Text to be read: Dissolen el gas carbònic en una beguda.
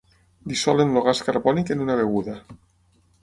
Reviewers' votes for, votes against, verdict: 6, 3, accepted